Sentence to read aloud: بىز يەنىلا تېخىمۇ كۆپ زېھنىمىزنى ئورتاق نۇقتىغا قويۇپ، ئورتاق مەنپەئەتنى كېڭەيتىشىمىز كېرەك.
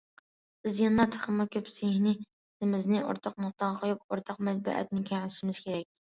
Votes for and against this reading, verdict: 0, 2, rejected